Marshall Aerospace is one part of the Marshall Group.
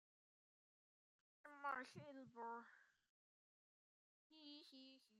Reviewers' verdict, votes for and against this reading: rejected, 0, 2